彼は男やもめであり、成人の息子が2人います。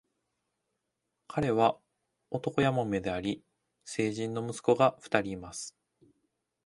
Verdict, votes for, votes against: rejected, 0, 2